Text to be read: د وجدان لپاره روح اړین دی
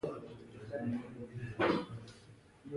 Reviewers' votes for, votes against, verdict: 1, 2, rejected